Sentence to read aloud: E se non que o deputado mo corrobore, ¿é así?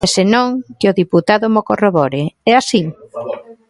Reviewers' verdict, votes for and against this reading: accepted, 2, 0